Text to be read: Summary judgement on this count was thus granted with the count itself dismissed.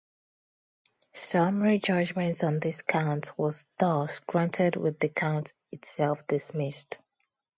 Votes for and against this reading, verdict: 2, 0, accepted